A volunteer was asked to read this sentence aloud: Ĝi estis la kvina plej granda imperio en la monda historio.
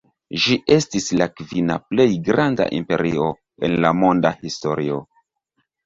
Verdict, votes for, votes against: rejected, 1, 2